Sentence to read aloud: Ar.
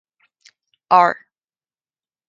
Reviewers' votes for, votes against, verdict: 2, 0, accepted